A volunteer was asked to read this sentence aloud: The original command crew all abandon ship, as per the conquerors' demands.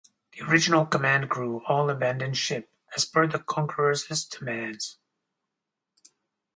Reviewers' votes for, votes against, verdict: 2, 2, rejected